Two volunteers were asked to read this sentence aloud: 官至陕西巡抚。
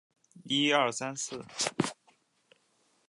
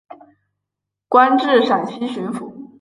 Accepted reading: second